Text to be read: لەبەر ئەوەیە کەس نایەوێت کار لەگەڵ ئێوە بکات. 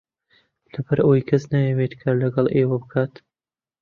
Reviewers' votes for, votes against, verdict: 2, 0, accepted